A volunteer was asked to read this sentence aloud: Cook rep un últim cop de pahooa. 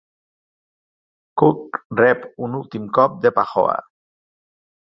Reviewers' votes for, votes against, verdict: 3, 0, accepted